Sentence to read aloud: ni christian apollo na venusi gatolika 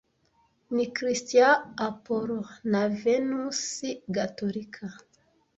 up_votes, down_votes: 1, 2